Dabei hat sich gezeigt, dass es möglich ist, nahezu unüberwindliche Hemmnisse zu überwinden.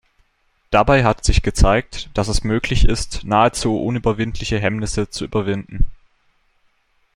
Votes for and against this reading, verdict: 2, 0, accepted